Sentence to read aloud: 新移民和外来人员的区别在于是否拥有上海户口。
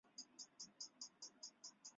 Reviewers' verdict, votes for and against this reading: rejected, 0, 2